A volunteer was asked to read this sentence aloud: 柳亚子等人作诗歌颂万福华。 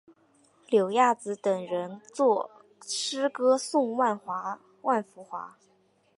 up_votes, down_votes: 0, 2